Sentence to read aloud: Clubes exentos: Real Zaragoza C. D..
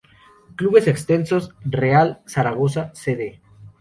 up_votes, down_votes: 2, 0